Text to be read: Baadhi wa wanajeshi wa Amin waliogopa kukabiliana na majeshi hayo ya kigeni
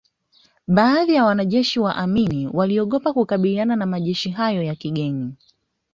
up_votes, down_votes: 2, 0